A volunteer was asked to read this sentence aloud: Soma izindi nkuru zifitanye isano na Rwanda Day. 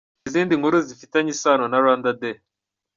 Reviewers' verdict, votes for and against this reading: rejected, 0, 2